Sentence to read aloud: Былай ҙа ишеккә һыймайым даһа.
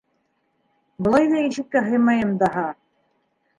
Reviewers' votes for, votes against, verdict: 2, 0, accepted